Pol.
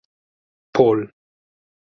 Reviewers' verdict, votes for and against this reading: accepted, 4, 0